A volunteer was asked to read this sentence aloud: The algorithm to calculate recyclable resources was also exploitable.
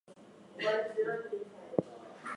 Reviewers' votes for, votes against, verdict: 0, 4, rejected